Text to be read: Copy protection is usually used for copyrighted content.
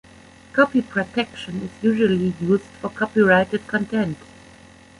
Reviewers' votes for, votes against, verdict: 2, 0, accepted